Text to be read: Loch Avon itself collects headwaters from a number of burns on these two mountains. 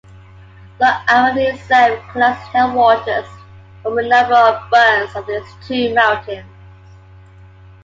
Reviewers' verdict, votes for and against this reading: rejected, 2, 3